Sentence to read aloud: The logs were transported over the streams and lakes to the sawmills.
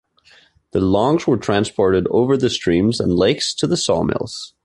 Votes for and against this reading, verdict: 1, 2, rejected